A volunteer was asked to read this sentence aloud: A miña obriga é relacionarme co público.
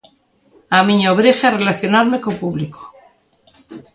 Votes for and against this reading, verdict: 2, 0, accepted